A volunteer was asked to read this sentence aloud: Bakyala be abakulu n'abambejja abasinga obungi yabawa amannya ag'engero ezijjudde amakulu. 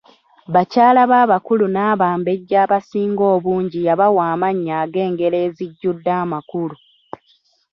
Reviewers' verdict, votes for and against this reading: rejected, 1, 2